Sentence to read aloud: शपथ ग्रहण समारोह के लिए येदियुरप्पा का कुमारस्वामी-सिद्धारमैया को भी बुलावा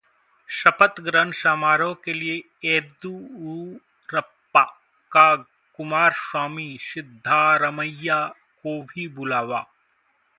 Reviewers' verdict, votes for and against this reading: rejected, 0, 2